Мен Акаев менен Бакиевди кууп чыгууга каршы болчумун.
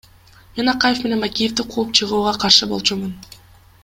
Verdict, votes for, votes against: accepted, 2, 0